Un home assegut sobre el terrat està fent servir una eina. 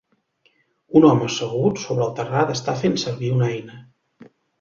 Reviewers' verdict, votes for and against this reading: accepted, 2, 0